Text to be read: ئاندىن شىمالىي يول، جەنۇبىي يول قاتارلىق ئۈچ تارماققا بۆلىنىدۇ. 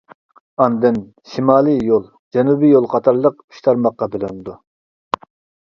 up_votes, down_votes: 2, 0